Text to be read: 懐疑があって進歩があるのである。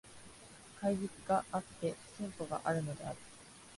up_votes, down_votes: 2, 0